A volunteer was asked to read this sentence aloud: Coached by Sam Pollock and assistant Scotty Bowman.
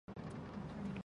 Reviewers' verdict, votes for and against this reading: rejected, 0, 2